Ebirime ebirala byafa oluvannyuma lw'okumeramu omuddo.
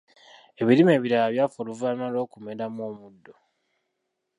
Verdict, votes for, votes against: rejected, 1, 2